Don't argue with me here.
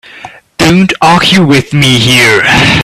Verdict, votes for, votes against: rejected, 0, 2